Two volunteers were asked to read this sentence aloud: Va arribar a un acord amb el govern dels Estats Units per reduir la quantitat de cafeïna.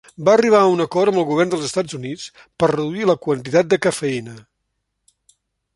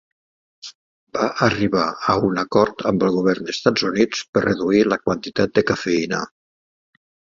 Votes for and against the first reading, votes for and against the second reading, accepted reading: 2, 0, 0, 2, first